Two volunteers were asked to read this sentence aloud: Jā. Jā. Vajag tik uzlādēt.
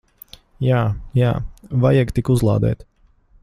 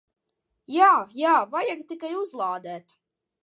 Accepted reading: first